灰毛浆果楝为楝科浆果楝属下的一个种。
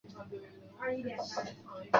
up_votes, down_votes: 1, 2